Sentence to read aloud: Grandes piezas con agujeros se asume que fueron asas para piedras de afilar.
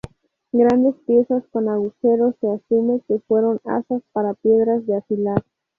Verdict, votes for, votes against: rejected, 2, 2